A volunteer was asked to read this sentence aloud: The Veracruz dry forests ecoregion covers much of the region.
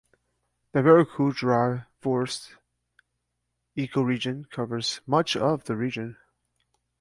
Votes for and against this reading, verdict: 2, 0, accepted